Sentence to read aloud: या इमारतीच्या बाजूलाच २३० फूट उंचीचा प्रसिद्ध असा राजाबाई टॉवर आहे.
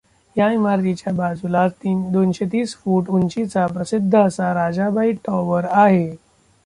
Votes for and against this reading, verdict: 0, 2, rejected